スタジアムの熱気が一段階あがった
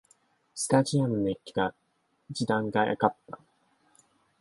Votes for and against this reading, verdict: 2, 3, rejected